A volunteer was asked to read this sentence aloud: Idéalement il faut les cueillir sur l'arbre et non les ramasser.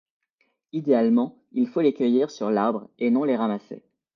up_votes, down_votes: 0, 2